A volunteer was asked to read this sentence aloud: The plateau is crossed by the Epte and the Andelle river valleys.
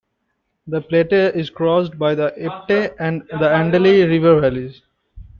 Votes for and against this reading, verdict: 0, 2, rejected